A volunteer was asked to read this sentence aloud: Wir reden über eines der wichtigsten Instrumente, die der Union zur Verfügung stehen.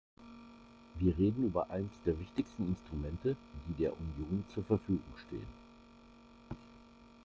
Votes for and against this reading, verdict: 1, 2, rejected